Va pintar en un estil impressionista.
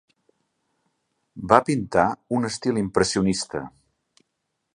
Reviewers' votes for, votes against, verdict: 2, 0, accepted